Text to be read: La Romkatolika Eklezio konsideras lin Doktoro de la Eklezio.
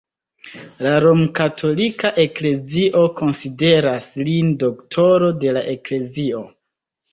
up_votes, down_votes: 1, 2